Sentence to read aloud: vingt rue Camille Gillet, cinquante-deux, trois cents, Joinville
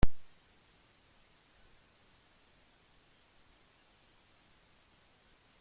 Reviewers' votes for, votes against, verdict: 0, 2, rejected